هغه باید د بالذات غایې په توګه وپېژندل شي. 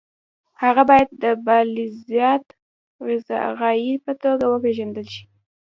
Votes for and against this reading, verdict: 2, 0, accepted